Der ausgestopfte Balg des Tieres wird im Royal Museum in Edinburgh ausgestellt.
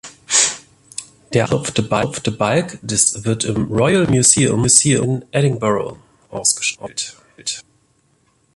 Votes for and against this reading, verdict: 0, 2, rejected